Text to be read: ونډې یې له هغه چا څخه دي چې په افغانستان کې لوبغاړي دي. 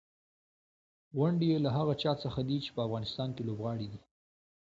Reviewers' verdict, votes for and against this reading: accepted, 2, 0